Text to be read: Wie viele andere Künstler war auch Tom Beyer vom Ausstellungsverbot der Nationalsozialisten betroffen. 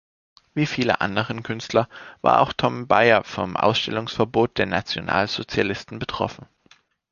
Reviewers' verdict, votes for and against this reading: rejected, 1, 2